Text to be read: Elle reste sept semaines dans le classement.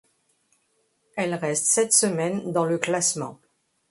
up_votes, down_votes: 2, 0